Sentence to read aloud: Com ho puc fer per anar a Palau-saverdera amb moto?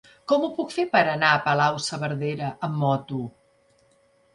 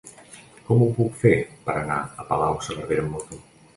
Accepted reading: first